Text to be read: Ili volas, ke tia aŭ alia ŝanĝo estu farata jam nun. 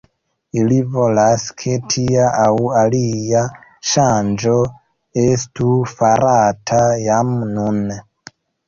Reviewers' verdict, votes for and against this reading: rejected, 1, 2